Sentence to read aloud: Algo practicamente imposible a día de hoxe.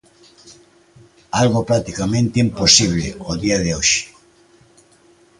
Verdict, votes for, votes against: rejected, 0, 2